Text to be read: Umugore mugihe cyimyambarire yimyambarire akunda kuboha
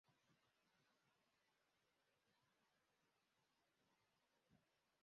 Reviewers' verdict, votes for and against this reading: rejected, 0, 2